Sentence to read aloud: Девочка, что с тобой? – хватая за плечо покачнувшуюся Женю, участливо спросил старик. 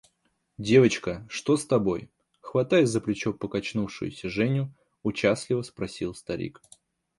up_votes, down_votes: 2, 0